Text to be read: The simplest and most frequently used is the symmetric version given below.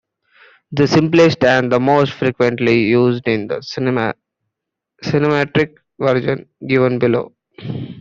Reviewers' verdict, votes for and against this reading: rejected, 0, 2